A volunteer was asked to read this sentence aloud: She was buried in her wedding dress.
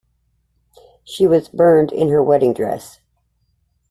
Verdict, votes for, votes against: accepted, 2, 1